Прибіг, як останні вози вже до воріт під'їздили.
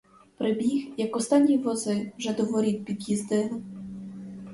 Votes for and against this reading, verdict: 2, 2, rejected